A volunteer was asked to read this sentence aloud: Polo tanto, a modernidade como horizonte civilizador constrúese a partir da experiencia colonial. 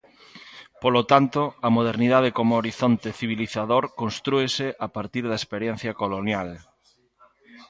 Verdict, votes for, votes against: accepted, 2, 0